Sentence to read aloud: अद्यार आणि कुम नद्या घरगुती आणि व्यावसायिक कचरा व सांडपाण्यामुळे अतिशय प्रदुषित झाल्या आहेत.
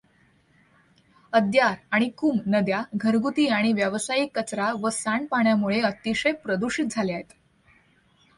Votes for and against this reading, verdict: 2, 0, accepted